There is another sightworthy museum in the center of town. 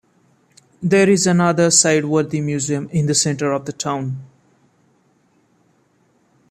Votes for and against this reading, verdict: 1, 2, rejected